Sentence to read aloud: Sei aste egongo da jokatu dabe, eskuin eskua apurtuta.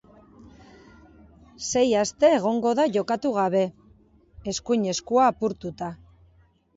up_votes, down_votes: 3, 0